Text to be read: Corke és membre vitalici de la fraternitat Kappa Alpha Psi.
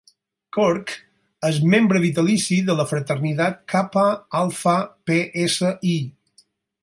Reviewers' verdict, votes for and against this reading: rejected, 0, 4